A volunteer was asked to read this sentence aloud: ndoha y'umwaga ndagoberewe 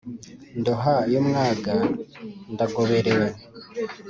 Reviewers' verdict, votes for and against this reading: accepted, 2, 0